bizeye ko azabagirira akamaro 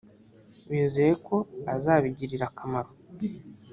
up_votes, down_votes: 1, 3